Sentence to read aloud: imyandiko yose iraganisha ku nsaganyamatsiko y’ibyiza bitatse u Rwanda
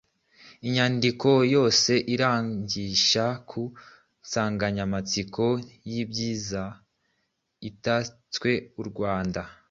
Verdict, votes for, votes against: rejected, 1, 2